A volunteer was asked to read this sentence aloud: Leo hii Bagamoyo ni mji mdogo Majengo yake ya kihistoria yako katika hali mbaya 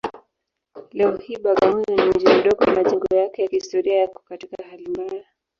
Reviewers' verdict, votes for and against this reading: rejected, 1, 2